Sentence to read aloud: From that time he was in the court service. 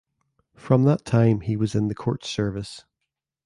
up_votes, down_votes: 2, 0